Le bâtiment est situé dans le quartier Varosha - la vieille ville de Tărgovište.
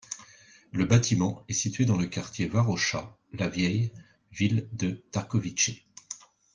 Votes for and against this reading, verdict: 0, 2, rejected